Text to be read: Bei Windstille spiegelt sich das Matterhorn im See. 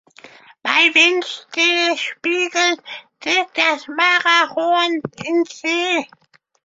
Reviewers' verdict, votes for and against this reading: rejected, 0, 2